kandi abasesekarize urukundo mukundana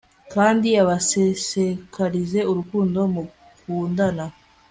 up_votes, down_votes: 3, 0